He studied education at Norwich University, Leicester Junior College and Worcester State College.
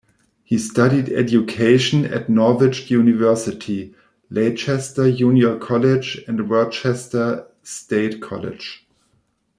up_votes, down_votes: 1, 2